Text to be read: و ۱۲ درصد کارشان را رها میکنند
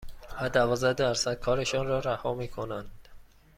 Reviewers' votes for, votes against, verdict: 0, 2, rejected